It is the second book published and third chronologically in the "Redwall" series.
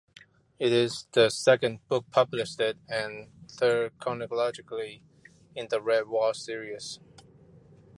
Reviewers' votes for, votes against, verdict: 2, 0, accepted